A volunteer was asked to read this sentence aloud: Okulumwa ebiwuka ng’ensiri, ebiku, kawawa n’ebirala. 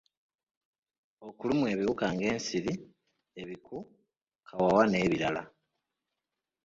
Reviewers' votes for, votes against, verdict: 2, 0, accepted